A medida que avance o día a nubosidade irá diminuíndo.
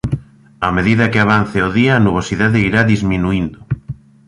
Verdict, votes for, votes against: rejected, 0, 2